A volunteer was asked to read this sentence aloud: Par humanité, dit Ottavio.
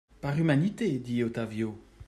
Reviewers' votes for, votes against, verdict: 2, 0, accepted